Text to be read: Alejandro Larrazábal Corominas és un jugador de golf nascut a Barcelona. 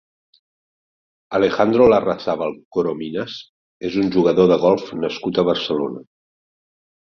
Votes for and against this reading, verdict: 3, 0, accepted